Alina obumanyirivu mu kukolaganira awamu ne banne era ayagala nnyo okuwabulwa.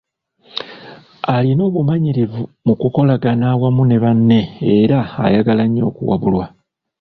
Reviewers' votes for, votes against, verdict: 1, 2, rejected